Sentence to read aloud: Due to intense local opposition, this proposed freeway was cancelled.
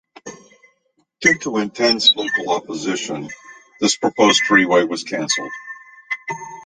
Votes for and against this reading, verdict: 2, 0, accepted